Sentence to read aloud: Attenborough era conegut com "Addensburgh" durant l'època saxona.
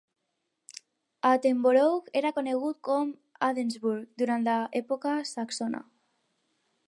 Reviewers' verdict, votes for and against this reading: rejected, 2, 2